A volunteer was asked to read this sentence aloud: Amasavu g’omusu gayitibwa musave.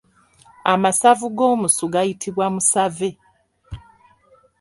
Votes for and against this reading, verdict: 3, 0, accepted